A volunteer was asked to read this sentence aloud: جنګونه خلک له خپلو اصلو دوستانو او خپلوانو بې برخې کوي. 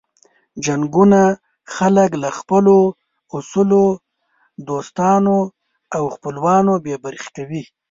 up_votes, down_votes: 1, 2